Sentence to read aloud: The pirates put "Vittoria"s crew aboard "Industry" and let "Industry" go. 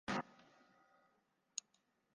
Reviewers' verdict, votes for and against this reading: rejected, 0, 2